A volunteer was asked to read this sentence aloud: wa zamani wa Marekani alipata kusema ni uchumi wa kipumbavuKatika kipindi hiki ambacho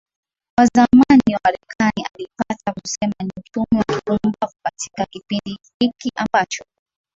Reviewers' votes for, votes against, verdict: 0, 2, rejected